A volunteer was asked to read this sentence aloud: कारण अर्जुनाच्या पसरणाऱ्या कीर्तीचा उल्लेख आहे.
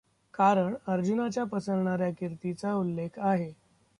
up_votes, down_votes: 0, 2